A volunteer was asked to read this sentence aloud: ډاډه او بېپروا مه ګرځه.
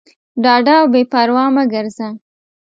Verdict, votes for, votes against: accepted, 2, 0